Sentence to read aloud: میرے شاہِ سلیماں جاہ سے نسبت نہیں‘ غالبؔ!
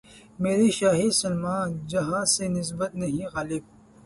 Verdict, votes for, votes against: accepted, 6, 2